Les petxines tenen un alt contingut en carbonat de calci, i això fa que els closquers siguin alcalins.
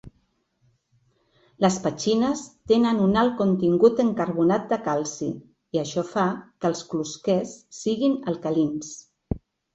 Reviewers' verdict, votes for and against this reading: accepted, 2, 0